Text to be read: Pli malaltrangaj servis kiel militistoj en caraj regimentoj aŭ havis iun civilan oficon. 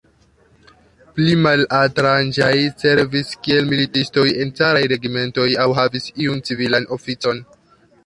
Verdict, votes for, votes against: accepted, 2, 0